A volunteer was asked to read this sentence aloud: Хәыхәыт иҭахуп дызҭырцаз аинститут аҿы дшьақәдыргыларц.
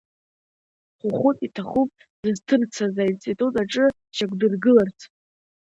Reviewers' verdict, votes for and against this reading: accepted, 2, 0